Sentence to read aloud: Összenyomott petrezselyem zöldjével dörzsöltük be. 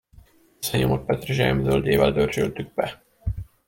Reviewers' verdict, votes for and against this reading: rejected, 1, 2